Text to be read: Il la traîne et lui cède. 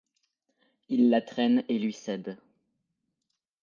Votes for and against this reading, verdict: 2, 0, accepted